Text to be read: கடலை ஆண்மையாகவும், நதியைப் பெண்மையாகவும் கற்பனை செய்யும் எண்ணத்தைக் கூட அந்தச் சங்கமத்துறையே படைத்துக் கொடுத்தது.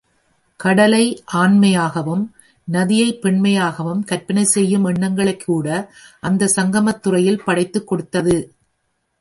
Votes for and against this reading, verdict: 1, 2, rejected